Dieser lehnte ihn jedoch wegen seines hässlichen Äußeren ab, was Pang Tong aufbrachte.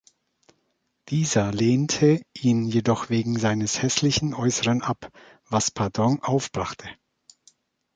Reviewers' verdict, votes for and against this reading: rejected, 1, 2